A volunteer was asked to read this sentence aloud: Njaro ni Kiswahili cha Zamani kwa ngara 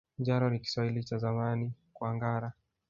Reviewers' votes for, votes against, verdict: 2, 0, accepted